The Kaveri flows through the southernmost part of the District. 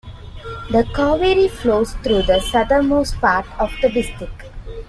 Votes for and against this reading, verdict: 2, 0, accepted